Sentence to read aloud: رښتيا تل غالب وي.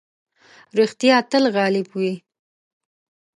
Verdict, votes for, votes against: accepted, 2, 0